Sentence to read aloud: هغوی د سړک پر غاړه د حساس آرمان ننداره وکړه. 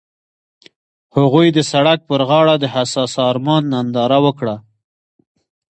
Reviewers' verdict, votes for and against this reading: accepted, 2, 0